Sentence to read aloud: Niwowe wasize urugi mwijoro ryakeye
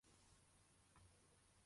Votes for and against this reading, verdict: 0, 2, rejected